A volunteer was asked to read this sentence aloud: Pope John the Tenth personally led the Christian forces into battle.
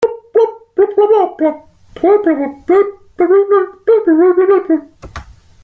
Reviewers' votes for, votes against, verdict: 0, 2, rejected